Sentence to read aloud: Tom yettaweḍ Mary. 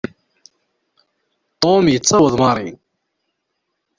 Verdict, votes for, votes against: accepted, 2, 0